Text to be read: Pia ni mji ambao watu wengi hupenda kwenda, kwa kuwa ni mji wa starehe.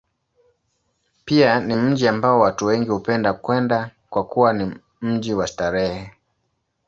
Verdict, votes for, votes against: accepted, 2, 0